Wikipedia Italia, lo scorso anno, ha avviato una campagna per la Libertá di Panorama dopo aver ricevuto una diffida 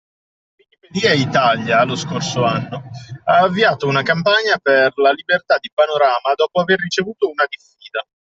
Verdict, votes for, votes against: rejected, 0, 2